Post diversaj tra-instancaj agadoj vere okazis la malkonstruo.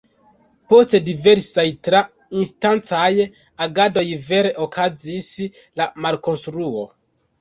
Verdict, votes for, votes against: accepted, 2, 0